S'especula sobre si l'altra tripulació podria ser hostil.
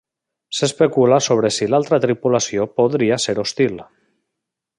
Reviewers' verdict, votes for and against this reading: accepted, 3, 0